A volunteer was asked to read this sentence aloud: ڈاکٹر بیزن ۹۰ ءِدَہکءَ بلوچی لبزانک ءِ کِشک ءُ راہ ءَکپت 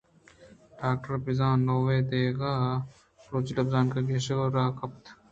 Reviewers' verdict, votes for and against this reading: rejected, 0, 2